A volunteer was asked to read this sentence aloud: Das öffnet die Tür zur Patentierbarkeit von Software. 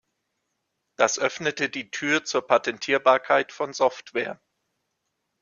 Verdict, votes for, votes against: rejected, 1, 2